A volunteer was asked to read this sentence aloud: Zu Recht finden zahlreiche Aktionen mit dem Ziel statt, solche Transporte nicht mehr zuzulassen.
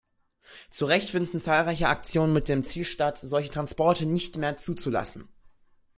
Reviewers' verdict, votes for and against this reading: accepted, 2, 0